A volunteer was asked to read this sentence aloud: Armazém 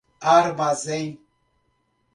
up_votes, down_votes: 2, 0